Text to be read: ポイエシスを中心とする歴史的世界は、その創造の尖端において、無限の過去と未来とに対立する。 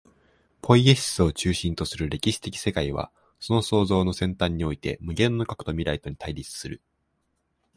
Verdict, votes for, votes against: accepted, 2, 0